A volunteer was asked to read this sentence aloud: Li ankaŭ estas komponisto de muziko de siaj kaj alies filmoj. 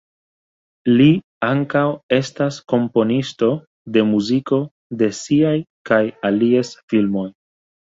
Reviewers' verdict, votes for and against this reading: accepted, 2, 0